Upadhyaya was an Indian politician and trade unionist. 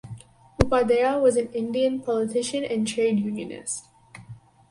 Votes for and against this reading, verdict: 4, 0, accepted